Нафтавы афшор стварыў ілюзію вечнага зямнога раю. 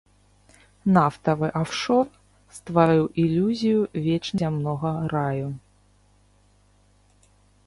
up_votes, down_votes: 1, 2